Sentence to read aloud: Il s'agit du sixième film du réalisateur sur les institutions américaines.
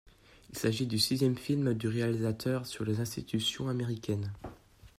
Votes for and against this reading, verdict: 2, 0, accepted